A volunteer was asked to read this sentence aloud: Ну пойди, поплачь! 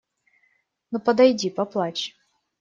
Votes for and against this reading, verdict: 0, 2, rejected